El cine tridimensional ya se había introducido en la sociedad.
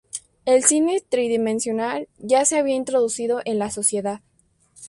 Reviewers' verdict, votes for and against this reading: accepted, 2, 0